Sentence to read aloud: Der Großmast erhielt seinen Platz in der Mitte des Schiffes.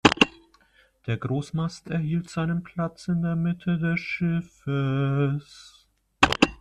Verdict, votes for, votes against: rejected, 1, 2